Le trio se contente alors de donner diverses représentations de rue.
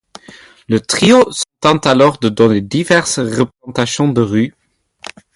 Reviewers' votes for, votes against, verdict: 2, 0, accepted